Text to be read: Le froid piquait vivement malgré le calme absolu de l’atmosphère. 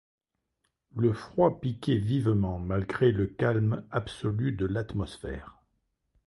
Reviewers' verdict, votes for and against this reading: accepted, 2, 0